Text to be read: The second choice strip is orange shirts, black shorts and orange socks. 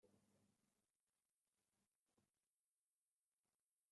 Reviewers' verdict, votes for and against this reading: rejected, 0, 3